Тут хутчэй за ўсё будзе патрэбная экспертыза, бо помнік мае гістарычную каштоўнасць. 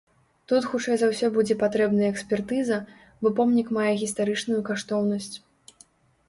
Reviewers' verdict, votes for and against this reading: accepted, 3, 0